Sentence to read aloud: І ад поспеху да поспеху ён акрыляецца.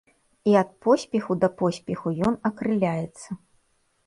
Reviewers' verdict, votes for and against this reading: accepted, 2, 0